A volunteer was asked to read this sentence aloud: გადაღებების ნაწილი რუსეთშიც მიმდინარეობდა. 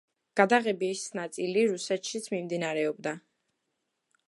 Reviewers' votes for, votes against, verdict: 0, 2, rejected